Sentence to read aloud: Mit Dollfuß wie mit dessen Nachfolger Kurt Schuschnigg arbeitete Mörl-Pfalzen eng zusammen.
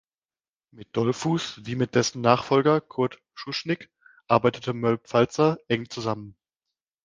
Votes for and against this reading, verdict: 0, 2, rejected